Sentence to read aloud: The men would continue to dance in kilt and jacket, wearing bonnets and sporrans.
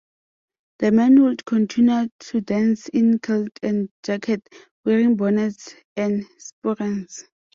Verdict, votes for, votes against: accepted, 2, 0